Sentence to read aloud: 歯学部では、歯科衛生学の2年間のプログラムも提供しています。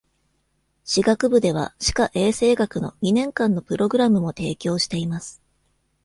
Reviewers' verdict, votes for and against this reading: rejected, 0, 2